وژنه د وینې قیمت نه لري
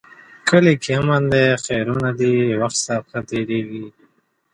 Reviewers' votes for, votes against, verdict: 0, 2, rejected